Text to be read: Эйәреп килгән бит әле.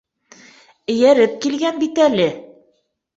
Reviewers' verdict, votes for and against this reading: accepted, 2, 0